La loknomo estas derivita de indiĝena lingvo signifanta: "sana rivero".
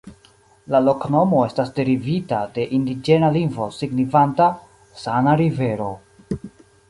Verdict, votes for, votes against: accepted, 2, 1